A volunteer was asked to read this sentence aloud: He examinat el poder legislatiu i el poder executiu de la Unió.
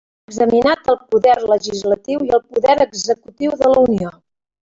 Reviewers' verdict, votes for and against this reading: rejected, 0, 2